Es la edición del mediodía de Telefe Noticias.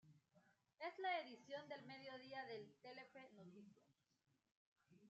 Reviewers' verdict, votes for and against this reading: rejected, 1, 2